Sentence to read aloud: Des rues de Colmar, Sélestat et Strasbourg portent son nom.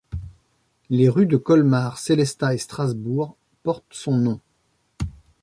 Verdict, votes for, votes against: rejected, 0, 2